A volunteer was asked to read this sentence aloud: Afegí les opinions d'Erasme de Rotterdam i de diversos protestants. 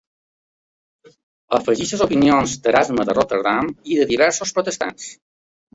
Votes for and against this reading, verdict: 2, 0, accepted